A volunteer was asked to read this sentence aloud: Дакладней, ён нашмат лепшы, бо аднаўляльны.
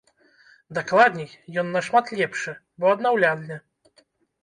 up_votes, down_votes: 1, 2